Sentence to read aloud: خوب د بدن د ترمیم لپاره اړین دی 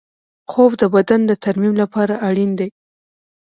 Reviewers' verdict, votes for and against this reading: rejected, 1, 2